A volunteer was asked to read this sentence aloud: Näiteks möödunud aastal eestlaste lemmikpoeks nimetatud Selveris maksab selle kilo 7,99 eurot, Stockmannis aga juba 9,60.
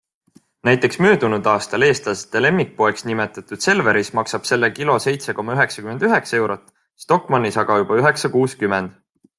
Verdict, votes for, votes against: rejected, 0, 2